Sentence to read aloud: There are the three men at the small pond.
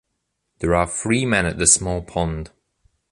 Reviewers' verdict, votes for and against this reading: accepted, 2, 1